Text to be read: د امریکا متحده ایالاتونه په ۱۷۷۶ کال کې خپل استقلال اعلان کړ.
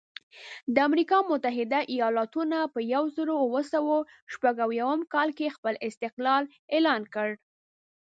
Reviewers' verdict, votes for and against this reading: rejected, 0, 2